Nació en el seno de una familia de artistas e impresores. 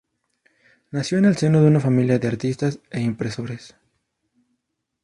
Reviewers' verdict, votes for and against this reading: accepted, 2, 0